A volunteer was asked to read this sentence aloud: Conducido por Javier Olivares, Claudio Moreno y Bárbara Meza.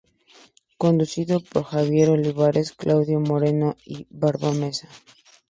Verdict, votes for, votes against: rejected, 0, 2